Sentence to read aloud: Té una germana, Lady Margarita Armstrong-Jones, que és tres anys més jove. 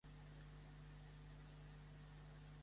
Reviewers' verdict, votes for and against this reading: rejected, 0, 2